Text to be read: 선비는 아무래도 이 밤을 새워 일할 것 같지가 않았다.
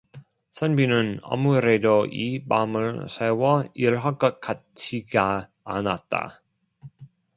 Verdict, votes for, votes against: rejected, 0, 2